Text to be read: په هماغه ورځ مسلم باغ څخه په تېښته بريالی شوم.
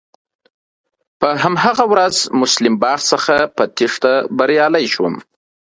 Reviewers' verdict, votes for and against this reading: rejected, 1, 2